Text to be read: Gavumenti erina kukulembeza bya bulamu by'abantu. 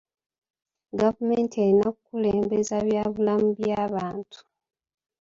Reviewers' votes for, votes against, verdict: 2, 0, accepted